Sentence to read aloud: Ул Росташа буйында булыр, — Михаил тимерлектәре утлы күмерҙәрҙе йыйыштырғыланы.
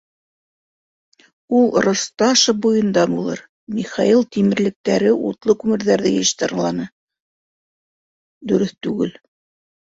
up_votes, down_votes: 1, 2